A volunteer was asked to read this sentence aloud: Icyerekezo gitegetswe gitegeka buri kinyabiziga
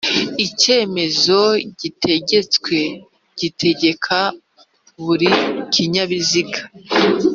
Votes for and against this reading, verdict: 1, 2, rejected